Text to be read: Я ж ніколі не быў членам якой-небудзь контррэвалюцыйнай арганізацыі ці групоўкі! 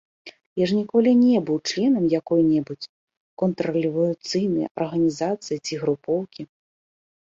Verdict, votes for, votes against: rejected, 0, 2